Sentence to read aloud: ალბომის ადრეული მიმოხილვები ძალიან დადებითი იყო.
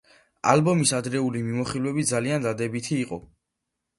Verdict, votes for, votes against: accepted, 3, 1